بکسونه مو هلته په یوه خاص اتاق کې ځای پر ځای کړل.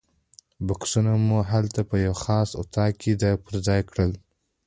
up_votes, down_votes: 2, 0